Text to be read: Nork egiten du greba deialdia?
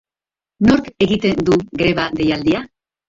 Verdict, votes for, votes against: rejected, 1, 3